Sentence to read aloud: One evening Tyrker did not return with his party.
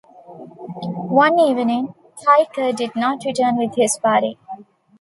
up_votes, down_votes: 0, 2